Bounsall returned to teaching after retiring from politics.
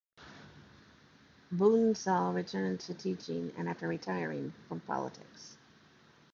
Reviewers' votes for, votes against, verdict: 0, 2, rejected